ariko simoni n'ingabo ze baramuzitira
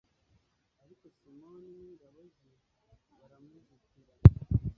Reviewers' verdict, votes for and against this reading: rejected, 1, 2